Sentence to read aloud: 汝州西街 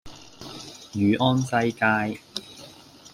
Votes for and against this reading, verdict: 0, 2, rejected